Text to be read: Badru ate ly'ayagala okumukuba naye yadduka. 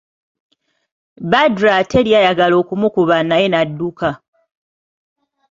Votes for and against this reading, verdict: 2, 0, accepted